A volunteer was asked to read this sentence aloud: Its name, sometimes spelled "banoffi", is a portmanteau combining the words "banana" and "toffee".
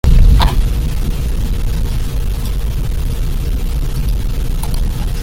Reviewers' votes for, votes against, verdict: 0, 2, rejected